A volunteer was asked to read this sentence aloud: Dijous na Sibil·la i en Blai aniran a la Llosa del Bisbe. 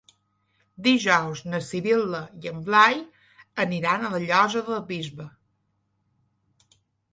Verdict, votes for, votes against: accepted, 2, 0